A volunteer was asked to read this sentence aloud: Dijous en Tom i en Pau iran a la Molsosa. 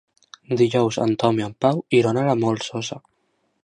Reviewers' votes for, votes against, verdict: 2, 1, accepted